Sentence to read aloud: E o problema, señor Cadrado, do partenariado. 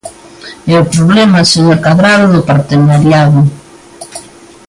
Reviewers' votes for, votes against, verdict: 2, 0, accepted